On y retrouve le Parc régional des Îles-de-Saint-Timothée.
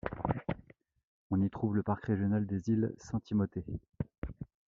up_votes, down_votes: 1, 2